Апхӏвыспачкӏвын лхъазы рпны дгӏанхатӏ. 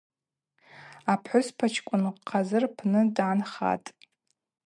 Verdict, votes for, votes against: accepted, 4, 0